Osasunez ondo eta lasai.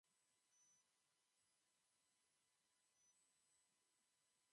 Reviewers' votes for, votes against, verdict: 0, 3, rejected